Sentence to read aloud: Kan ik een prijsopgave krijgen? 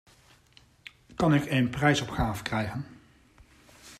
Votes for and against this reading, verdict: 2, 0, accepted